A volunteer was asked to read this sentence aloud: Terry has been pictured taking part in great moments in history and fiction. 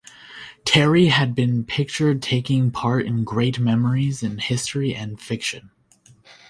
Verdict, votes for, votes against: rejected, 0, 2